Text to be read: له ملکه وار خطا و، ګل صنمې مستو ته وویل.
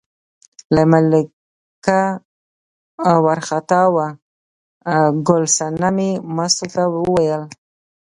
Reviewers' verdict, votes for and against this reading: accepted, 2, 0